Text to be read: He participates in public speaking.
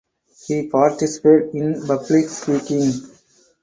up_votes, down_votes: 0, 4